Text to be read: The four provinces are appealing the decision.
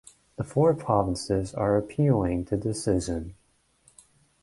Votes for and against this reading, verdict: 2, 0, accepted